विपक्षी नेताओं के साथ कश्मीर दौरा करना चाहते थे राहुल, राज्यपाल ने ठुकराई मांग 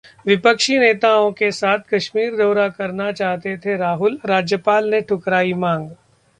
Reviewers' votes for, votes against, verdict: 2, 0, accepted